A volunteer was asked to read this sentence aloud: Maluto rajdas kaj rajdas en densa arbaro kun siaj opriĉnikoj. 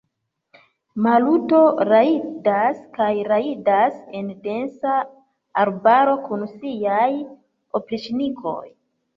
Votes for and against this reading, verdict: 0, 2, rejected